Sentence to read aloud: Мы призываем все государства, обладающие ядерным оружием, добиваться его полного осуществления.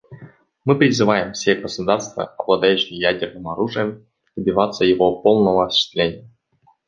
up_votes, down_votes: 1, 2